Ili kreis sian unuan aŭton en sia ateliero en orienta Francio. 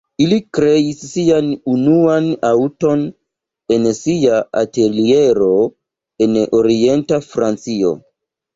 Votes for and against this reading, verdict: 2, 0, accepted